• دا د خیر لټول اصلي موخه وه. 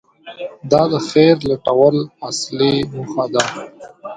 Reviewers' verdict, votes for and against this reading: accepted, 2, 0